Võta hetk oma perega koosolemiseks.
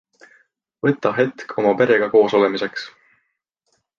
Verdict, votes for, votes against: accepted, 2, 0